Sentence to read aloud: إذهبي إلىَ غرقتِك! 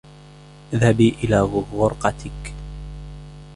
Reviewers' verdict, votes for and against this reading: rejected, 1, 2